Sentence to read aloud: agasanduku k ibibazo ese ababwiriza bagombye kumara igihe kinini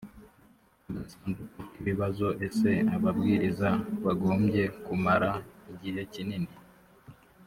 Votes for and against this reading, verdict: 1, 2, rejected